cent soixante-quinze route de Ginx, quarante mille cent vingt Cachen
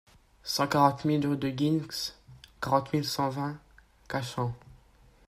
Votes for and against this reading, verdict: 0, 2, rejected